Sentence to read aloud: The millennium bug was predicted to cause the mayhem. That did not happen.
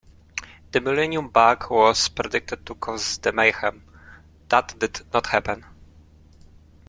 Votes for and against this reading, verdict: 2, 0, accepted